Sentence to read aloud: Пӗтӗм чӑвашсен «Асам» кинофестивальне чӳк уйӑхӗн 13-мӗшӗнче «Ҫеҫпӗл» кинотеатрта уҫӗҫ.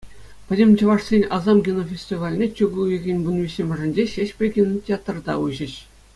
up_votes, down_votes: 0, 2